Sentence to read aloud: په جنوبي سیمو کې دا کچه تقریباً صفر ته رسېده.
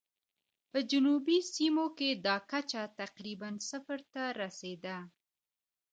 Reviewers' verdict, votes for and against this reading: rejected, 0, 2